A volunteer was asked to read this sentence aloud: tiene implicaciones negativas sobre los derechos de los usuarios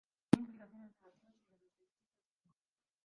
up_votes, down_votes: 0, 2